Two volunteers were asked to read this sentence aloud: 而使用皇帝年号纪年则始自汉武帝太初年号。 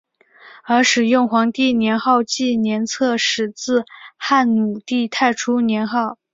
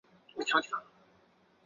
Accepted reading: first